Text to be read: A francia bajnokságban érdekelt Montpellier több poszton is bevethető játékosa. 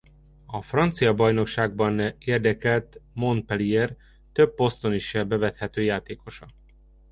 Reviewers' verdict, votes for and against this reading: rejected, 1, 2